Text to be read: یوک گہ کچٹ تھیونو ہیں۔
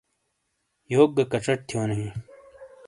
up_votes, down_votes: 2, 0